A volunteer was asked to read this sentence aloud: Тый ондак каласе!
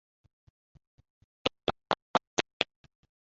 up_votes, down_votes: 0, 2